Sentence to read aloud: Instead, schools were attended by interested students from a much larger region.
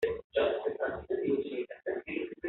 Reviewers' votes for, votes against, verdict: 0, 2, rejected